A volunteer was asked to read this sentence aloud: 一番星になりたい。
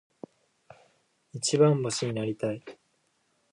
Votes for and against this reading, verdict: 2, 0, accepted